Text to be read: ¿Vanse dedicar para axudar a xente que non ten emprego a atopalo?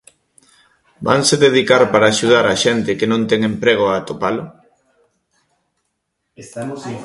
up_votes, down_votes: 0, 2